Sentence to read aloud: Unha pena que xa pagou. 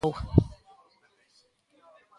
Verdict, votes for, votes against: rejected, 0, 2